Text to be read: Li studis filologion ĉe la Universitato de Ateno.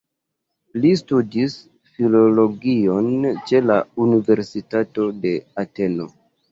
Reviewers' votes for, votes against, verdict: 2, 0, accepted